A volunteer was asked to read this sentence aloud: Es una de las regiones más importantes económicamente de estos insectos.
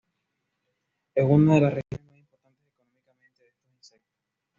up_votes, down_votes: 1, 2